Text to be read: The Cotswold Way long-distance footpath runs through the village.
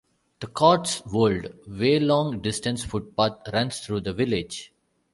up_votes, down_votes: 1, 2